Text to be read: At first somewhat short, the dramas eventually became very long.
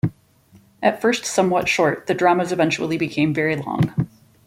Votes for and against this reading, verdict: 2, 0, accepted